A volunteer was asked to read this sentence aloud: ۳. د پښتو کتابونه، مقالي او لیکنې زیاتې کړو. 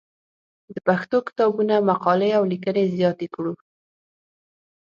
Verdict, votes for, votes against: rejected, 0, 2